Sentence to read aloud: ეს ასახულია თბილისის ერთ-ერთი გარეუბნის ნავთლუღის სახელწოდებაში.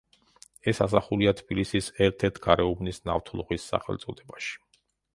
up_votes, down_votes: 0, 2